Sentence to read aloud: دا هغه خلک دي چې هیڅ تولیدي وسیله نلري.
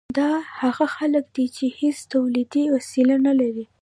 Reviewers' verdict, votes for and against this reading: rejected, 1, 2